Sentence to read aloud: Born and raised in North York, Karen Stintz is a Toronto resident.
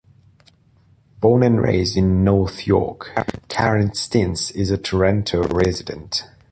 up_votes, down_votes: 0, 2